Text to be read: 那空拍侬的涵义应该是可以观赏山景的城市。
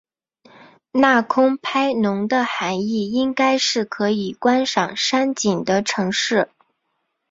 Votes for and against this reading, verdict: 2, 0, accepted